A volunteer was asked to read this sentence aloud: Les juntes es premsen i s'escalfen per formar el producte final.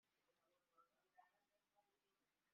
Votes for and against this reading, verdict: 0, 2, rejected